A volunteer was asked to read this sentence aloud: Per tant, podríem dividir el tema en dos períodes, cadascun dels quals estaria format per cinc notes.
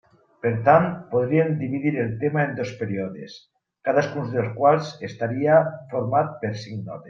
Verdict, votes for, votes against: rejected, 1, 2